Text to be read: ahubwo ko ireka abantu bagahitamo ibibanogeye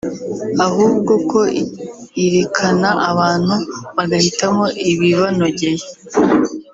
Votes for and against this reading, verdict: 0, 2, rejected